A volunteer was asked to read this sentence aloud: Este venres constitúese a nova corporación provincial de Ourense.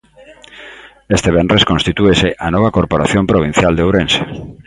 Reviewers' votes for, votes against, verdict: 2, 0, accepted